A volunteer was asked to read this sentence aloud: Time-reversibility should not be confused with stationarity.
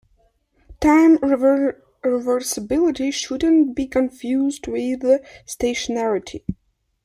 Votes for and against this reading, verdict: 2, 0, accepted